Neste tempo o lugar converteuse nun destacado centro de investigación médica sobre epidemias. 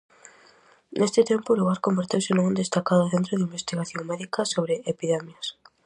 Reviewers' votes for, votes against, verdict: 2, 2, rejected